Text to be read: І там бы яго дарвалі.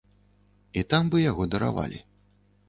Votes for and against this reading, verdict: 1, 2, rejected